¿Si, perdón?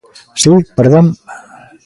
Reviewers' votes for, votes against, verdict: 0, 2, rejected